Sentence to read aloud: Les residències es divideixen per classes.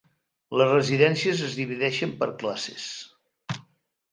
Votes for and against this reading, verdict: 3, 0, accepted